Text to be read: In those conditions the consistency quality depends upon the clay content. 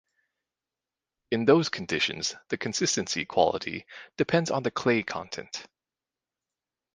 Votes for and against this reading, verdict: 2, 2, rejected